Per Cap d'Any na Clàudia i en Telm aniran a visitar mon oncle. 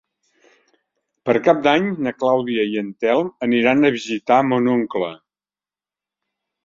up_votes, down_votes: 3, 0